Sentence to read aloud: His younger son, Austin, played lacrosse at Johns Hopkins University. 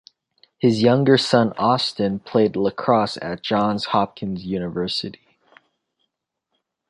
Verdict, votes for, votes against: accepted, 2, 1